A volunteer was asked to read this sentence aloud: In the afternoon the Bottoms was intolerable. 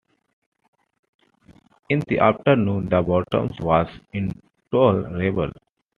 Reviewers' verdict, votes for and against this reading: accepted, 2, 0